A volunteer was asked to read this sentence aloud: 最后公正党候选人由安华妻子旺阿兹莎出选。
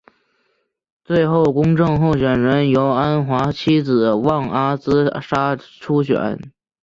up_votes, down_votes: 6, 1